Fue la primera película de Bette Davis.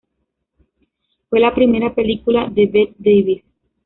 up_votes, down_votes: 1, 3